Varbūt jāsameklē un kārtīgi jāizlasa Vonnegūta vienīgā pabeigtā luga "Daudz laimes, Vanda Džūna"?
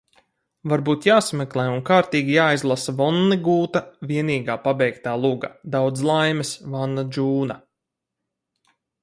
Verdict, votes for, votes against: rejected, 2, 2